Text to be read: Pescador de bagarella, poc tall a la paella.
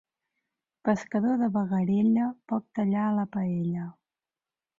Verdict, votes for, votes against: rejected, 1, 2